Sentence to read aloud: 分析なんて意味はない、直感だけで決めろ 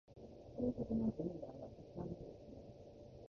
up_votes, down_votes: 0, 2